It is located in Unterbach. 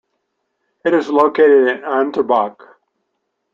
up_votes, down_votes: 2, 0